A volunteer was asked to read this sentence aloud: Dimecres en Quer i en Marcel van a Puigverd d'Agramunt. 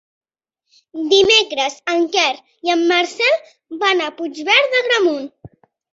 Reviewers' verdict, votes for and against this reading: accepted, 2, 0